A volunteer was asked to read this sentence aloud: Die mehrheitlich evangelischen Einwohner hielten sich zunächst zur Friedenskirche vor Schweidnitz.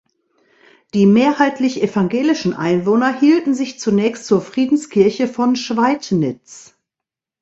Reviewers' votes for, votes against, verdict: 0, 2, rejected